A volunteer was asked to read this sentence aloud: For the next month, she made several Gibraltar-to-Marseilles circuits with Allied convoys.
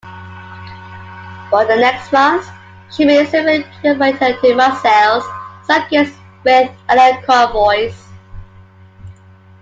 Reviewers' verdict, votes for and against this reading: accepted, 2, 1